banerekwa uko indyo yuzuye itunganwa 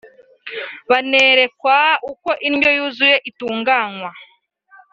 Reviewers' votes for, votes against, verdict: 3, 0, accepted